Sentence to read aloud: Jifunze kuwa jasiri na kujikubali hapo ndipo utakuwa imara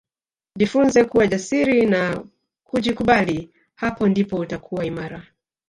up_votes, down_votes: 0, 2